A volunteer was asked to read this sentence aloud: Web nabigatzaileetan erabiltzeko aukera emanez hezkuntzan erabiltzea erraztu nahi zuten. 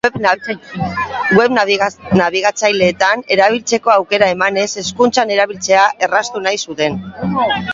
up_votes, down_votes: 0, 3